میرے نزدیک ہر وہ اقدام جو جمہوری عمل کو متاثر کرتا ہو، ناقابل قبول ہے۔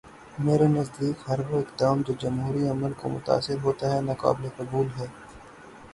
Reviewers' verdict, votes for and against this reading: rejected, 0, 6